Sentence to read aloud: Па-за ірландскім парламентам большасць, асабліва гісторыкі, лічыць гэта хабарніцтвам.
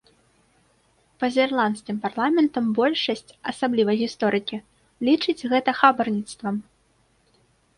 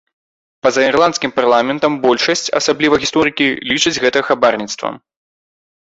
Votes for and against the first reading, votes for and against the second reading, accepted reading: 2, 0, 1, 2, first